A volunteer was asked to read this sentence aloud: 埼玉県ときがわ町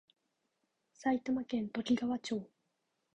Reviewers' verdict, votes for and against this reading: rejected, 1, 2